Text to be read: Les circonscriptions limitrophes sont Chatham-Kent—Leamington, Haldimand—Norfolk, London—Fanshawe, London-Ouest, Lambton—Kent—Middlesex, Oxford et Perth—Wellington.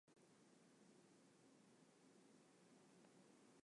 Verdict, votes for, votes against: rejected, 0, 2